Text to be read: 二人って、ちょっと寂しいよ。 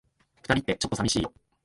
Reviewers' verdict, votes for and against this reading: accepted, 4, 0